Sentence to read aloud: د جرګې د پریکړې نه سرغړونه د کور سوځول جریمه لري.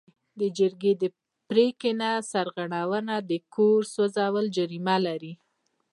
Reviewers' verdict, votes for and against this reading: accepted, 2, 0